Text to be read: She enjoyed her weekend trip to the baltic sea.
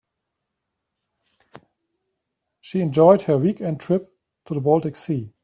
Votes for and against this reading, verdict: 3, 0, accepted